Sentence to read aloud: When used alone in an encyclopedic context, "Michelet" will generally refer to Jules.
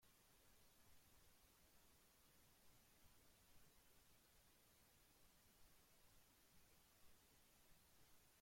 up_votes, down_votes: 0, 2